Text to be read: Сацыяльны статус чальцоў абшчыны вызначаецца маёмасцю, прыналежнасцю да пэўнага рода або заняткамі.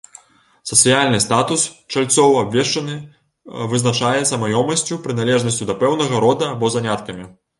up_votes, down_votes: 0, 2